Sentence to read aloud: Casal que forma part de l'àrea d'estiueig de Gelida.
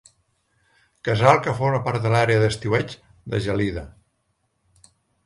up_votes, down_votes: 2, 0